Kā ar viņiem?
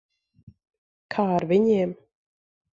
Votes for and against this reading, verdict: 2, 0, accepted